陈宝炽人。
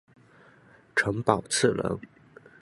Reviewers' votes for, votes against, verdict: 0, 2, rejected